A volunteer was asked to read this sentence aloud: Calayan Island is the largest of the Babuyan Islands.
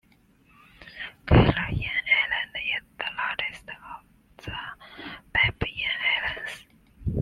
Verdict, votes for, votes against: rejected, 0, 2